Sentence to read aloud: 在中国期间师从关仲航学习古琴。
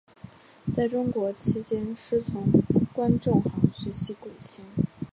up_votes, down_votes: 2, 0